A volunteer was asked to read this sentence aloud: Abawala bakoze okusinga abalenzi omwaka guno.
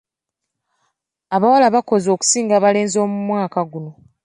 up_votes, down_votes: 2, 0